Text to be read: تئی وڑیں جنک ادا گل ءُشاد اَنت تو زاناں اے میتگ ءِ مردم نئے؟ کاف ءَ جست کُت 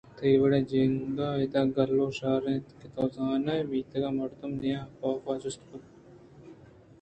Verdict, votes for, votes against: rejected, 1, 2